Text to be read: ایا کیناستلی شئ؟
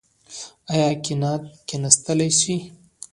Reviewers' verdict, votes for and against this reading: rejected, 1, 2